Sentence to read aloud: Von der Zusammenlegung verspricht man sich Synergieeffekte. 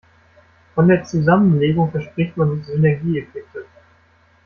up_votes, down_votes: 1, 2